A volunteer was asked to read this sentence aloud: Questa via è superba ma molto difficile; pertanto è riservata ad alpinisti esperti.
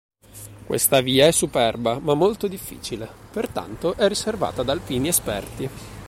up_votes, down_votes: 0, 2